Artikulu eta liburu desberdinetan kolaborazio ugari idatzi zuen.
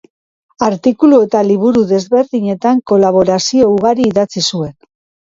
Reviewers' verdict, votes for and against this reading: accepted, 2, 0